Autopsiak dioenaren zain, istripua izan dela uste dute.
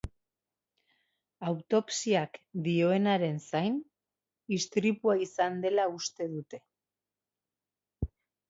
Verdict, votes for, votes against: accepted, 2, 0